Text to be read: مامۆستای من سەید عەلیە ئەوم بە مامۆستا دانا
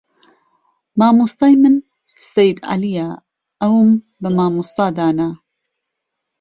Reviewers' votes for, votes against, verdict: 2, 0, accepted